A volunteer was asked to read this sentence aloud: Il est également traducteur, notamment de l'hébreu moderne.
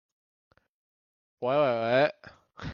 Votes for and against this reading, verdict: 0, 2, rejected